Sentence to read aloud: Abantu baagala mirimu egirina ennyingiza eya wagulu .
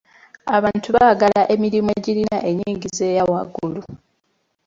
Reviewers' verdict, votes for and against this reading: rejected, 1, 2